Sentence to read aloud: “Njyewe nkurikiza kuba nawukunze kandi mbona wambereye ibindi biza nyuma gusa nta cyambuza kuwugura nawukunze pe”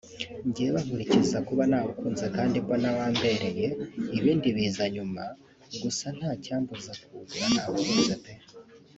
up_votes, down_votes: 1, 2